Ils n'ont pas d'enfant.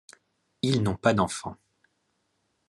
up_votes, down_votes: 2, 0